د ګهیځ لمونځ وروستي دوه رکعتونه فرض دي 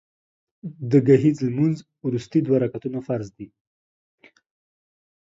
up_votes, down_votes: 2, 0